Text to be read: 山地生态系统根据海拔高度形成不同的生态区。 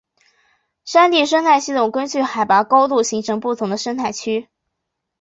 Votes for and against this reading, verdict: 3, 0, accepted